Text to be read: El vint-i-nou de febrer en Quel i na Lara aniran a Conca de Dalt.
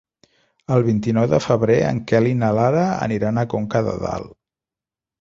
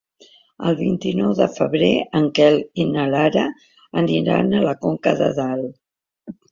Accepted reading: first